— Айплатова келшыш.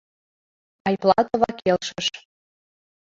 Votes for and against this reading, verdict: 0, 2, rejected